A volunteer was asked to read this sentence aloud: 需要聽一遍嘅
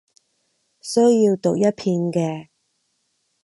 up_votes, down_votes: 0, 4